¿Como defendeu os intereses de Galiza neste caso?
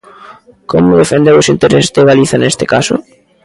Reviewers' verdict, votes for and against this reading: rejected, 1, 2